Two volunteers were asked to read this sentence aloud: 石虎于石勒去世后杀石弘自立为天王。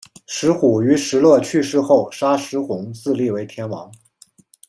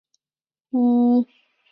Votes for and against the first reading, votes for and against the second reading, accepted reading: 2, 0, 0, 2, first